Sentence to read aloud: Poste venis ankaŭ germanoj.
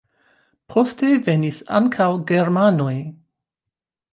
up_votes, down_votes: 1, 2